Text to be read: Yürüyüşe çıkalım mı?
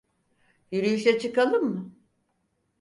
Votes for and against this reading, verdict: 4, 0, accepted